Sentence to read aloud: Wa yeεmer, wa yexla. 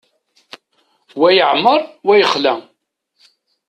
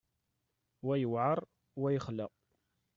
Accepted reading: first